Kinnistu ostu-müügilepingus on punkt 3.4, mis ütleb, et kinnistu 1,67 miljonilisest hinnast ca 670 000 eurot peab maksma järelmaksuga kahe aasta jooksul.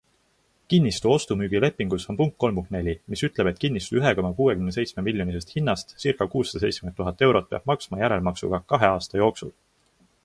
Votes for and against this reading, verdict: 0, 2, rejected